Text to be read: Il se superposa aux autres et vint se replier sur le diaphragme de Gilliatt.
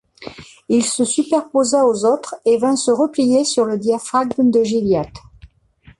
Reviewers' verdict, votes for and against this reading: accepted, 2, 0